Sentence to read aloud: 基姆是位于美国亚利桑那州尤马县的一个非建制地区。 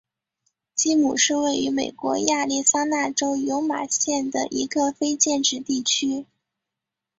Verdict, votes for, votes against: accepted, 8, 0